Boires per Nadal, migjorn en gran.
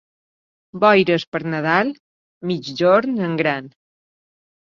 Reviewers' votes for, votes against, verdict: 2, 0, accepted